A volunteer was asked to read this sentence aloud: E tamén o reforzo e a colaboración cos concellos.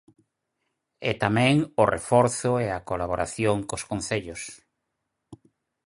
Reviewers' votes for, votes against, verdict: 4, 0, accepted